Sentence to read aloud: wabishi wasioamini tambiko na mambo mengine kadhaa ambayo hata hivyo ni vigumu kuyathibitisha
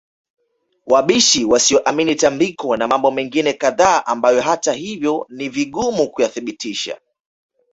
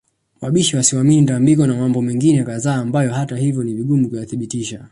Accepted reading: first